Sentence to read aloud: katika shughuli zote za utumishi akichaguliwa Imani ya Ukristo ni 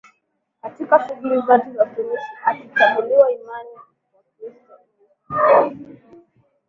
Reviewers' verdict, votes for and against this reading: rejected, 2, 4